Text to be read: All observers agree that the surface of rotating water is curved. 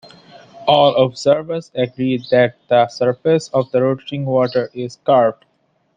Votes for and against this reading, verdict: 1, 2, rejected